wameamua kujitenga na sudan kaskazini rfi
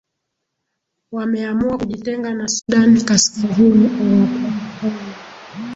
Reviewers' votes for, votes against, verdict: 3, 4, rejected